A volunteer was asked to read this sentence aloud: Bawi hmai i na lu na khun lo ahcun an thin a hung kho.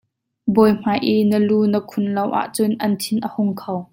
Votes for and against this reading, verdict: 2, 0, accepted